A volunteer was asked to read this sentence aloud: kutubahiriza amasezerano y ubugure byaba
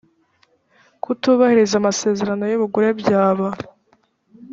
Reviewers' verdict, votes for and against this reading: accepted, 3, 0